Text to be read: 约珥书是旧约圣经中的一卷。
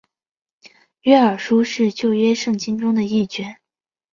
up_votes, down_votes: 3, 0